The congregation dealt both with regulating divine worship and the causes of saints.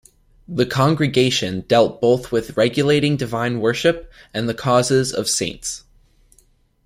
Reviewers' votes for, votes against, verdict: 2, 0, accepted